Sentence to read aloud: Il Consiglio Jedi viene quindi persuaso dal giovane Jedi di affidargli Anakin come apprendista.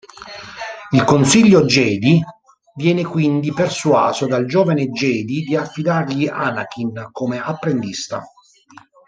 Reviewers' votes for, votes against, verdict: 2, 0, accepted